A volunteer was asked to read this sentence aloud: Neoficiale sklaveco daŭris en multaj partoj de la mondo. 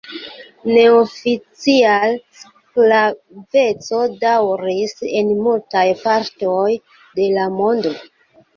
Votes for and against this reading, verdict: 2, 1, accepted